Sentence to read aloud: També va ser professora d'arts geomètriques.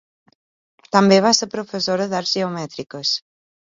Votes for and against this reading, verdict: 2, 0, accepted